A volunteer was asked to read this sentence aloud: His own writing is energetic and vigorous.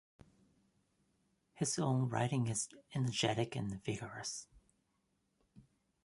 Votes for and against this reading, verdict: 2, 0, accepted